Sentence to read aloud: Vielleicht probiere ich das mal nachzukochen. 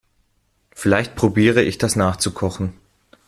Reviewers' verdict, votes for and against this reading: rejected, 0, 2